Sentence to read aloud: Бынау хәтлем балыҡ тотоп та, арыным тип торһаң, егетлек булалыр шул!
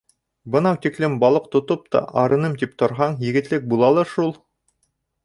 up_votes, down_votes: 1, 2